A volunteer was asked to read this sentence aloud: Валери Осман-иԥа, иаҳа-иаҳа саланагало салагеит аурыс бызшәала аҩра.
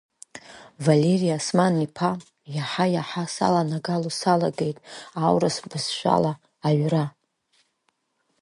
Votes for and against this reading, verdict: 2, 0, accepted